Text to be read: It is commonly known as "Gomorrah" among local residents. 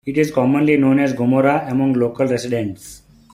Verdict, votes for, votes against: accepted, 2, 0